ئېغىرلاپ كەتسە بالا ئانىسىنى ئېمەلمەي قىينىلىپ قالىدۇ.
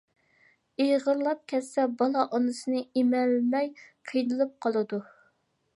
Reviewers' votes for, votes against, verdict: 2, 0, accepted